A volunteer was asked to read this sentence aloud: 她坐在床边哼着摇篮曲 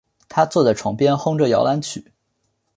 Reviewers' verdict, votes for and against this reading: accepted, 3, 0